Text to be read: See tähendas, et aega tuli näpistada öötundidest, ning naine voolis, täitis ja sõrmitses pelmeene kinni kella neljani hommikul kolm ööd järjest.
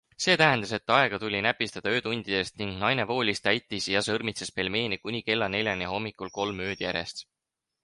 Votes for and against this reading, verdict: 4, 2, accepted